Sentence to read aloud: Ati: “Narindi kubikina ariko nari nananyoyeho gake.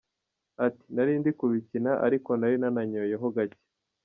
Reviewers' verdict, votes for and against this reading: accepted, 2, 0